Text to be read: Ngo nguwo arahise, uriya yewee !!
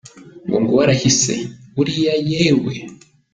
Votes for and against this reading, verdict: 2, 0, accepted